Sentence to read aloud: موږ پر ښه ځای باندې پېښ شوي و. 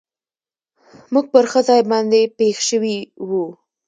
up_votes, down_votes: 2, 0